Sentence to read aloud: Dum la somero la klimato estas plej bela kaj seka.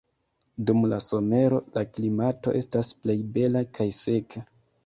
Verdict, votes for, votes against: rejected, 1, 2